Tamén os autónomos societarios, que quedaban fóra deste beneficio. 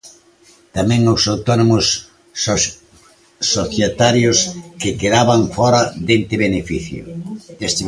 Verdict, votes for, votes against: rejected, 1, 2